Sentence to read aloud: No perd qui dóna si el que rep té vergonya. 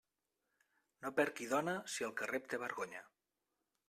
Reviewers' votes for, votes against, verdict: 2, 0, accepted